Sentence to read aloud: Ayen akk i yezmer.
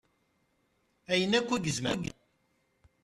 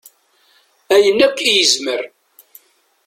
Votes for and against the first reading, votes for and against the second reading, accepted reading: 0, 2, 2, 0, second